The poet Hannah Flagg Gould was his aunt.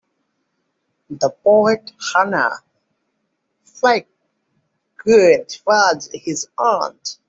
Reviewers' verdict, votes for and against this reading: accepted, 2, 1